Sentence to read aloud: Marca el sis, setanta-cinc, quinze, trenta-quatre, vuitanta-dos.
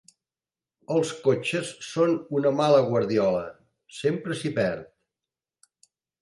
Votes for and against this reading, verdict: 0, 2, rejected